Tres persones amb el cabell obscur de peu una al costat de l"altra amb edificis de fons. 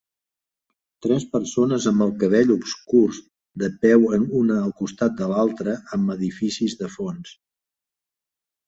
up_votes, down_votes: 0, 2